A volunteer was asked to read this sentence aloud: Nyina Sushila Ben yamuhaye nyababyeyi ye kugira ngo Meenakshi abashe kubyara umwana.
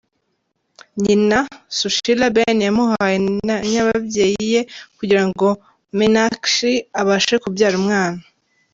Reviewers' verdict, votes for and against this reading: rejected, 1, 2